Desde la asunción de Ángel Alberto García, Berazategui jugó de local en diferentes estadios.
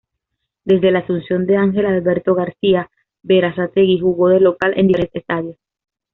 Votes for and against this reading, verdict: 1, 2, rejected